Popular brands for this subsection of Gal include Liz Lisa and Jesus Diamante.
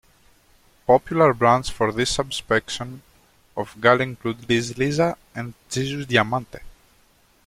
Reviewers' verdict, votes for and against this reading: rejected, 1, 2